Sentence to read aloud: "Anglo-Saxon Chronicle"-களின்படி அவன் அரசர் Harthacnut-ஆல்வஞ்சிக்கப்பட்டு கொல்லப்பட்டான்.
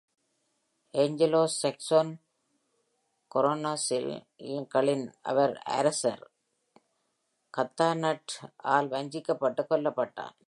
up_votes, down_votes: 0, 2